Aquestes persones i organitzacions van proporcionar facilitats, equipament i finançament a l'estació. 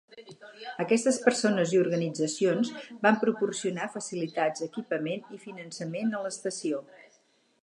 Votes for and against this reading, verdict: 0, 4, rejected